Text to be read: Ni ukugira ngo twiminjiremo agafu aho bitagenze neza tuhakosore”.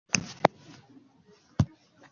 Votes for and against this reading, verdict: 0, 2, rejected